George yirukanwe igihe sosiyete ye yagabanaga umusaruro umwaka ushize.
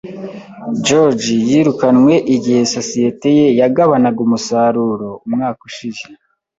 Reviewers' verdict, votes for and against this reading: accepted, 2, 0